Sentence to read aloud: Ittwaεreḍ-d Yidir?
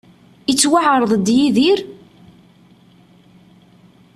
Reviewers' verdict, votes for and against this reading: accepted, 2, 0